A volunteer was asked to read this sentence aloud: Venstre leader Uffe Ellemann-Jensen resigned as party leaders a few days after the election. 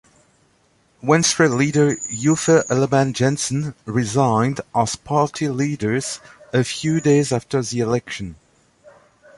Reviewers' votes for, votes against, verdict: 2, 0, accepted